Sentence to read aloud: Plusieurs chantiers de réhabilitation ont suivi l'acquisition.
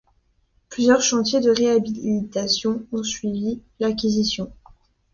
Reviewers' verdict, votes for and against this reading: rejected, 0, 2